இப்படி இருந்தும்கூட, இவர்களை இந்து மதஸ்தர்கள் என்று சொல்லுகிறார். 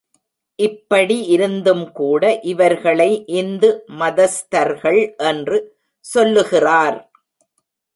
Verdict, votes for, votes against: accepted, 2, 0